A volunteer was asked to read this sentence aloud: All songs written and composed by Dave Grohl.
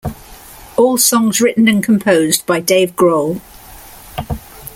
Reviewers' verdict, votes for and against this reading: accepted, 2, 0